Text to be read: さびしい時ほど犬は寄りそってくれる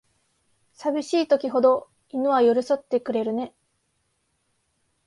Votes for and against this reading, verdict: 4, 1, accepted